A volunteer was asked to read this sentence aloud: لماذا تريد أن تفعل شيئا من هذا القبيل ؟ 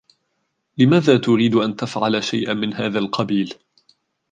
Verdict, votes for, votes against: accepted, 2, 1